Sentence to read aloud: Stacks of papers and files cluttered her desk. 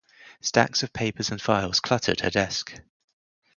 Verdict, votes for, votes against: accepted, 4, 0